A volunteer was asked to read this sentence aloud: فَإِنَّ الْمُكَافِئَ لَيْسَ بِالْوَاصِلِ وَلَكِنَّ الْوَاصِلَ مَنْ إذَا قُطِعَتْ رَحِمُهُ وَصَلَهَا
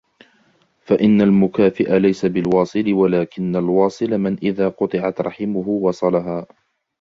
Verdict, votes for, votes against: accepted, 2, 1